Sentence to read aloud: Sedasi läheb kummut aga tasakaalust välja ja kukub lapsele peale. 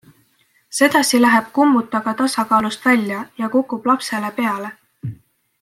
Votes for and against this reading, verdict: 2, 0, accepted